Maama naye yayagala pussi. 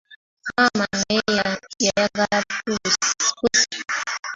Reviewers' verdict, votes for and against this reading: rejected, 0, 2